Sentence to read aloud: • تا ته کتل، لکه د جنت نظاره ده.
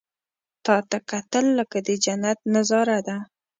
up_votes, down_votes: 2, 0